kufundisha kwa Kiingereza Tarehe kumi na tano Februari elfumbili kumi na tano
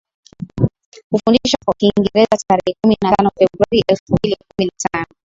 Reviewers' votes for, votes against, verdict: 2, 1, accepted